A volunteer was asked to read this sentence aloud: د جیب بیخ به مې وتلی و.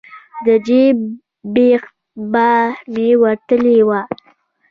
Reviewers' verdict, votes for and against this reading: accepted, 2, 0